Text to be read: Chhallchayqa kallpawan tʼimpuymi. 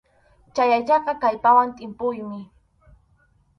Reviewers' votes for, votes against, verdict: 0, 4, rejected